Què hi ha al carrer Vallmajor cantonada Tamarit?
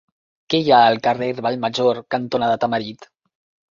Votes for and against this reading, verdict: 3, 0, accepted